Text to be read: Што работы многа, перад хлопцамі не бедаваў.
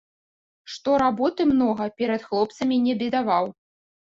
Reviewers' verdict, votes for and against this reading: accepted, 2, 0